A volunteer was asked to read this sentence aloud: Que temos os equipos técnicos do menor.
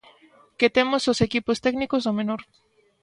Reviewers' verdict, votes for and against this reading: accepted, 2, 0